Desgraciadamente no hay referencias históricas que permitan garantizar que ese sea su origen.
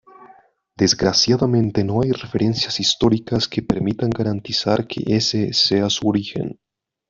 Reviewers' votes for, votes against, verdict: 1, 2, rejected